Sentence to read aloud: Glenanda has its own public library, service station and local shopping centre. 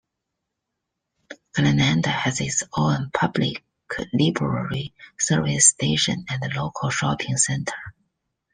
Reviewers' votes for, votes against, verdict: 2, 0, accepted